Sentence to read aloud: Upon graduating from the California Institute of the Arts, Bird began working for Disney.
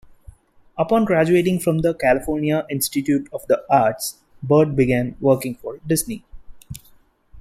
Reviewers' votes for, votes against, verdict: 2, 0, accepted